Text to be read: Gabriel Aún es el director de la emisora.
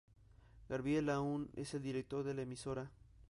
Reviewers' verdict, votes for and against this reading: accepted, 2, 0